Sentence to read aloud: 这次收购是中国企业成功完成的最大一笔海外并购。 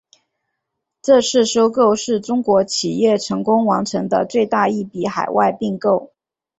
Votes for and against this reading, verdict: 2, 1, accepted